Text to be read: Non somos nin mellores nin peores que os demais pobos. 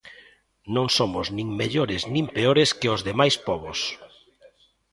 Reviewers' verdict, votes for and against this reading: accepted, 2, 1